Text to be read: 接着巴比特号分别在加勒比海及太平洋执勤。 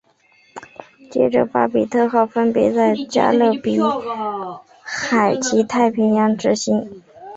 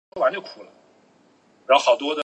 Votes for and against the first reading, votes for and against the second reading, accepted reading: 3, 0, 0, 8, first